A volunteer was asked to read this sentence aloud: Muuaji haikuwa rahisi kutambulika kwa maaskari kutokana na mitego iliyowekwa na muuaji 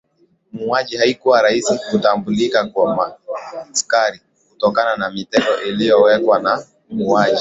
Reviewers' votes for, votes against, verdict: 0, 2, rejected